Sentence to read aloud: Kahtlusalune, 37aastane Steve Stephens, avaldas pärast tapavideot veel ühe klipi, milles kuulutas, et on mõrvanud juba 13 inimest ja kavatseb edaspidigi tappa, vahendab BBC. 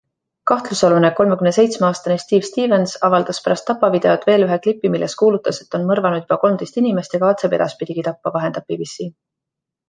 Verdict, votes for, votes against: rejected, 0, 2